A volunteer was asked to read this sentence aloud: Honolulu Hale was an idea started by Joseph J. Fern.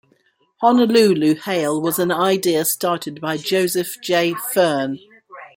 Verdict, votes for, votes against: rejected, 0, 2